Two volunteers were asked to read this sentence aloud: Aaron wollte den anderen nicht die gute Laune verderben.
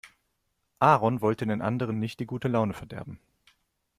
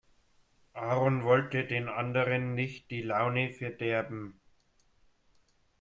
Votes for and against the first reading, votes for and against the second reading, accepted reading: 2, 0, 0, 2, first